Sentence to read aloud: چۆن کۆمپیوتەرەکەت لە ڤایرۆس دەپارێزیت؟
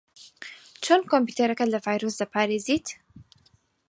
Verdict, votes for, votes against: accepted, 4, 0